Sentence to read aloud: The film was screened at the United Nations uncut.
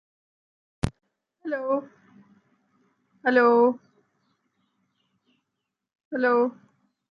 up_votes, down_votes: 0, 2